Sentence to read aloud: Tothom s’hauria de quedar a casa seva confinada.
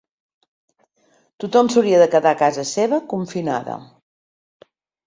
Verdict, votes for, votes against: accepted, 2, 0